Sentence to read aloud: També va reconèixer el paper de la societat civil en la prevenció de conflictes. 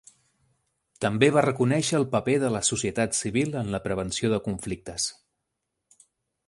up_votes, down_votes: 4, 0